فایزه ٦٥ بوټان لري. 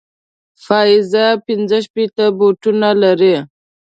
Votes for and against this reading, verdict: 0, 2, rejected